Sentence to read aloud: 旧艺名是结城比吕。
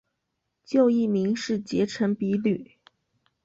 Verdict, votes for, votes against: accepted, 2, 0